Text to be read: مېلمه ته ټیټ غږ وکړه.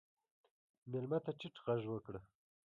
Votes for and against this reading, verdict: 2, 0, accepted